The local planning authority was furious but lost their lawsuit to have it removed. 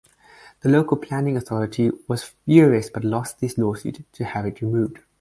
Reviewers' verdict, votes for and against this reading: rejected, 0, 4